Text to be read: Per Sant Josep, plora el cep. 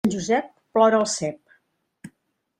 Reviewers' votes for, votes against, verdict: 0, 2, rejected